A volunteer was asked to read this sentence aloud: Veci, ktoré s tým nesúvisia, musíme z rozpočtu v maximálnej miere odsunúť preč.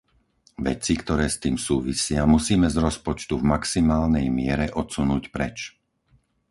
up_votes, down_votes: 0, 4